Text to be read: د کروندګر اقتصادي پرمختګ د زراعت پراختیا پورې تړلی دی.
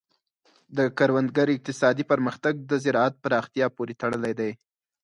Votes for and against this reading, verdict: 4, 0, accepted